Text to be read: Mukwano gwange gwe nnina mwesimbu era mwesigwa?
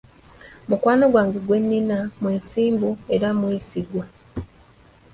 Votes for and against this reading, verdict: 2, 0, accepted